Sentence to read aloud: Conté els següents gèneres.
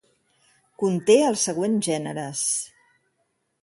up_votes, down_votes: 3, 3